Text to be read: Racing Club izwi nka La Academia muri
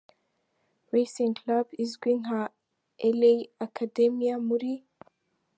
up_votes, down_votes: 2, 0